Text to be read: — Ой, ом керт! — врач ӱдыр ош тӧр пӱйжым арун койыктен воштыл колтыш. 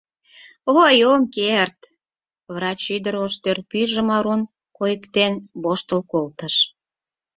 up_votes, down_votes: 4, 0